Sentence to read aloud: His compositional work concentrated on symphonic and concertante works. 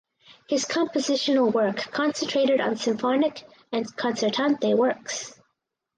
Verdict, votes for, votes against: accepted, 4, 0